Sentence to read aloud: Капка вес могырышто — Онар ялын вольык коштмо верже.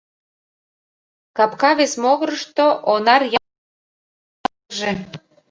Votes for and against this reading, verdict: 0, 2, rejected